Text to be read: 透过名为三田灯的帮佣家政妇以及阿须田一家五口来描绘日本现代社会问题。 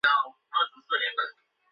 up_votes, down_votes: 0, 3